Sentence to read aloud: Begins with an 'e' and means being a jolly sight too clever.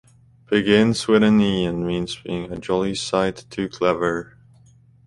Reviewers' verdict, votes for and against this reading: rejected, 0, 2